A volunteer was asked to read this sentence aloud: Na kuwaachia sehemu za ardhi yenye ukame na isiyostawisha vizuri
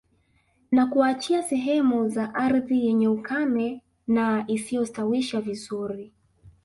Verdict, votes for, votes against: rejected, 0, 2